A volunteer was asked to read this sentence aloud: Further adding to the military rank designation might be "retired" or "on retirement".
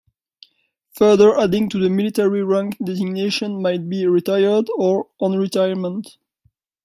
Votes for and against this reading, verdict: 2, 0, accepted